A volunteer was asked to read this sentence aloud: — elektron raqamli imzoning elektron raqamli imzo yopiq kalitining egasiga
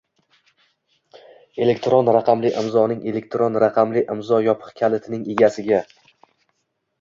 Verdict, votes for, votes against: accepted, 2, 0